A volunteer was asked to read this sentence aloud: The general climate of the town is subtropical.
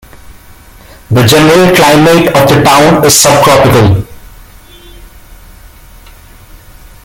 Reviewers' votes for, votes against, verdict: 1, 2, rejected